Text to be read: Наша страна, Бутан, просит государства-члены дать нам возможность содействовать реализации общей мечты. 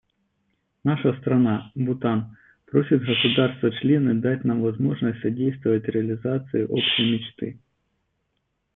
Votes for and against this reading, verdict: 0, 2, rejected